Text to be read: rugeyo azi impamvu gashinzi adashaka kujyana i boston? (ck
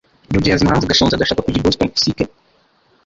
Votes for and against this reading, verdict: 1, 2, rejected